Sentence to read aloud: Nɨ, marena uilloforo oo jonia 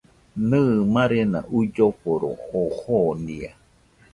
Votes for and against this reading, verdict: 2, 0, accepted